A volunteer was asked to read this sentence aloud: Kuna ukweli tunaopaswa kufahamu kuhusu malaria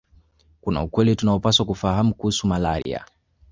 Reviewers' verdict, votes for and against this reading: accepted, 2, 0